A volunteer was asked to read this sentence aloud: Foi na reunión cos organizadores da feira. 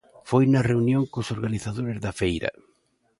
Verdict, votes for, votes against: accepted, 2, 0